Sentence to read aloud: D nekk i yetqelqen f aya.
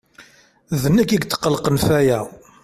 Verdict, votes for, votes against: accepted, 2, 0